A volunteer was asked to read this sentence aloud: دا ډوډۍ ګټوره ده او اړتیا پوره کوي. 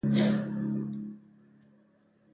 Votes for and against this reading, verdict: 0, 2, rejected